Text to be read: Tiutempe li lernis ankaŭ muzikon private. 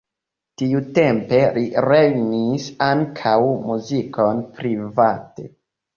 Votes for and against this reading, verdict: 0, 2, rejected